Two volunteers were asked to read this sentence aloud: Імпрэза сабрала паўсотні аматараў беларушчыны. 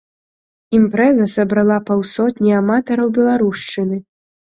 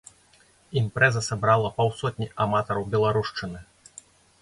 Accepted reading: second